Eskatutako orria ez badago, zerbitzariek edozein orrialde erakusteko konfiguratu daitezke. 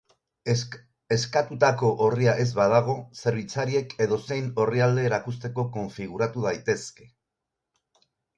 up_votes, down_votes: 2, 4